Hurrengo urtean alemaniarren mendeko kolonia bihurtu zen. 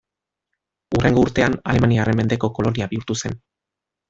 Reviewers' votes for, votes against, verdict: 1, 2, rejected